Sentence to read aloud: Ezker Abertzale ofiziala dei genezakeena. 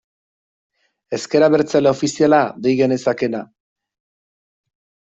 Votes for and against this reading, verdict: 2, 1, accepted